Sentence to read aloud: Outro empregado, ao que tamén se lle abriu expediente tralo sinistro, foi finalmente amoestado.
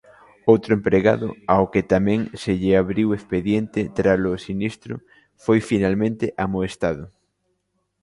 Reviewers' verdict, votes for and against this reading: accepted, 2, 0